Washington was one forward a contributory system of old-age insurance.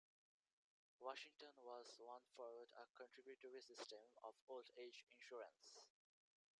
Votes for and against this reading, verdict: 1, 2, rejected